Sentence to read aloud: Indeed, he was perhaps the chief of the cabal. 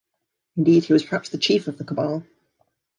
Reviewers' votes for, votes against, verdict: 2, 0, accepted